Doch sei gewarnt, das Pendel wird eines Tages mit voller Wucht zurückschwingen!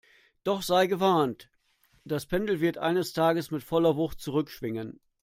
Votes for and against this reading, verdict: 2, 0, accepted